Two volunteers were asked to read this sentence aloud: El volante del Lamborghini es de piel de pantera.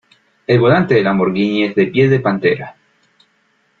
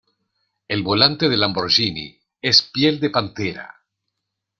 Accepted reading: first